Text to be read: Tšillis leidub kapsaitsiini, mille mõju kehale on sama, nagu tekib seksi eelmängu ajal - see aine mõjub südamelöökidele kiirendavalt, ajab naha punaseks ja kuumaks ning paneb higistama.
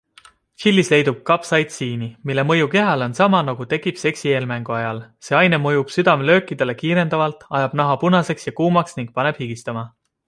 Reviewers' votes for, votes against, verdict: 2, 0, accepted